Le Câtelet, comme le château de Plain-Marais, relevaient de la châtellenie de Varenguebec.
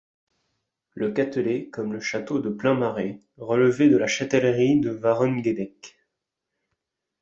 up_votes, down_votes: 0, 2